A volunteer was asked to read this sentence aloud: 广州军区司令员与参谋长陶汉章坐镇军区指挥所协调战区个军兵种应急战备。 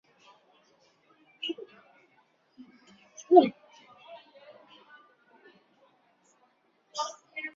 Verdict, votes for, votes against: rejected, 0, 5